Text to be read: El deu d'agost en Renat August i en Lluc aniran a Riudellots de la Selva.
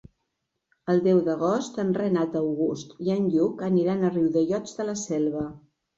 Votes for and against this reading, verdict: 3, 0, accepted